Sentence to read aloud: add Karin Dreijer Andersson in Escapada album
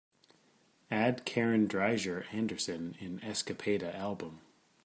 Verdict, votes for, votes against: accepted, 2, 0